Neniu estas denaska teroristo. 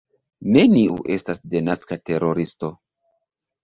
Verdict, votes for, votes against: accepted, 2, 0